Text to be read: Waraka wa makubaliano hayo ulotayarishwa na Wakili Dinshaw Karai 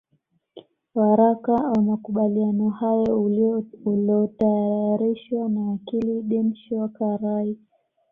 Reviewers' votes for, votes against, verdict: 1, 2, rejected